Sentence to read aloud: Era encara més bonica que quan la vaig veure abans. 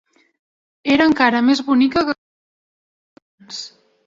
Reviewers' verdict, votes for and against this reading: rejected, 1, 2